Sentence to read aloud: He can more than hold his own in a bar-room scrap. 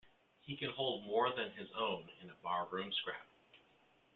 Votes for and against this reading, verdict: 0, 2, rejected